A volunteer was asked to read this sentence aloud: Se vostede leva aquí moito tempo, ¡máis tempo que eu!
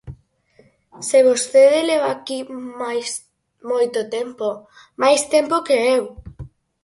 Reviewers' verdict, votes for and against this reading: rejected, 0, 4